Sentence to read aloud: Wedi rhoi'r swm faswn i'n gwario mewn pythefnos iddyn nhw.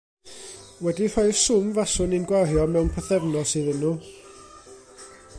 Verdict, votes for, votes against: rejected, 1, 2